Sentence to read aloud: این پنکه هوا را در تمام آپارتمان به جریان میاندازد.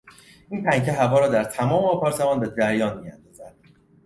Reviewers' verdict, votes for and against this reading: rejected, 0, 2